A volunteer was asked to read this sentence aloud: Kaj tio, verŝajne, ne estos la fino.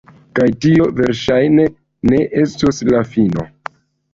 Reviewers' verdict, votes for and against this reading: accepted, 2, 1